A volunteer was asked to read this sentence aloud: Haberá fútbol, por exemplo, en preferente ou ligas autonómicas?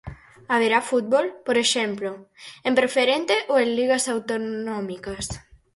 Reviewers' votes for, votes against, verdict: 2, 4, rejected